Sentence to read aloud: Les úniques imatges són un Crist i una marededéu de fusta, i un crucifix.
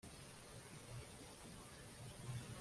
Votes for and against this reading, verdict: 0, 2, rejected